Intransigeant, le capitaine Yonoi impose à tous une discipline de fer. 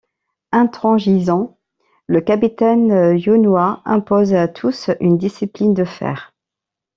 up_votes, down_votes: 0, 2